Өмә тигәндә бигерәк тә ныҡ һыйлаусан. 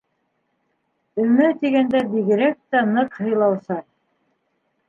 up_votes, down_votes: 0, 2